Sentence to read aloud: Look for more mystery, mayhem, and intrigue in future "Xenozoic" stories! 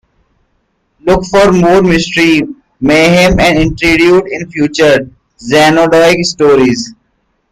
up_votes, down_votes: 0, 2